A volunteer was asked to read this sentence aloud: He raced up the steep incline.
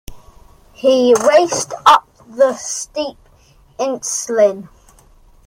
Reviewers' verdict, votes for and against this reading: rejected, 0, 2